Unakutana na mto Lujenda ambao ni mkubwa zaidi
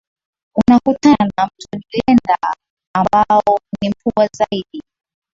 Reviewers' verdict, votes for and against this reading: rejected, 0, 2